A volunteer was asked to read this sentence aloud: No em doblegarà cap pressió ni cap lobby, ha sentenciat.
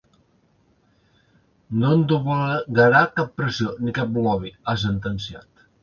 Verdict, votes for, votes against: rejected, 0, 2